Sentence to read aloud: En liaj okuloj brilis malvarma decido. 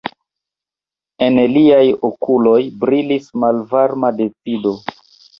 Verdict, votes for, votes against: rejected, 0, 2